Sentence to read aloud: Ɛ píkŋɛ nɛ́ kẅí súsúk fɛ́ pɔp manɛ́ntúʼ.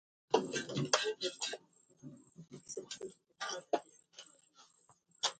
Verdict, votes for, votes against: rejected, 0, 2